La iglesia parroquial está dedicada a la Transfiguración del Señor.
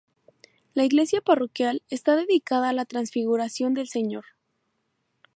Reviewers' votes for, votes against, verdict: 2, 0, accepted